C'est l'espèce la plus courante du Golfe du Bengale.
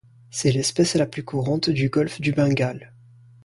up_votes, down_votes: 2, 0